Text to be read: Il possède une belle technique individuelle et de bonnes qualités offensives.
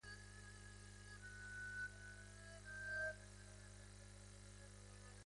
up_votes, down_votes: 0, 2